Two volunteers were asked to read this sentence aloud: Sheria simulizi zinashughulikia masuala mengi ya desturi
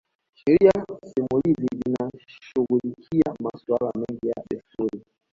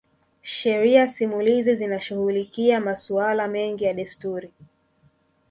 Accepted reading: first